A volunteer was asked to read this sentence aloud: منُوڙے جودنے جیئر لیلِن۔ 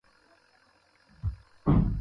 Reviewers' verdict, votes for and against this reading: rejected, 0, 2